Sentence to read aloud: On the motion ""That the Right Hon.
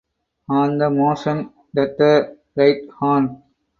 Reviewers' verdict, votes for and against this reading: rejected, 2, 2